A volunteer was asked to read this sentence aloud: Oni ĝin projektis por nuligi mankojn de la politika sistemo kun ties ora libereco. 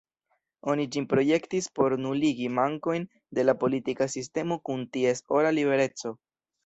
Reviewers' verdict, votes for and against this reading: accepted, 2, 0